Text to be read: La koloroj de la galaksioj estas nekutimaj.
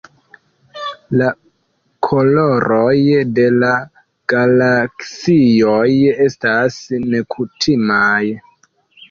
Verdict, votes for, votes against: rejected, 0, 2